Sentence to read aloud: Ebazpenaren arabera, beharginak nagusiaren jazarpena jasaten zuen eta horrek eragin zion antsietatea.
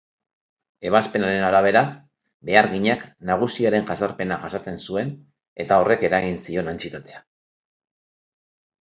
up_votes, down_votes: 4, 0